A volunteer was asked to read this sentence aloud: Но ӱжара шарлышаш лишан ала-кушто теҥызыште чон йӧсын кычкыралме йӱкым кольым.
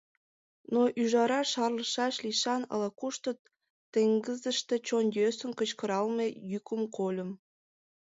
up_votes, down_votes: 1, 4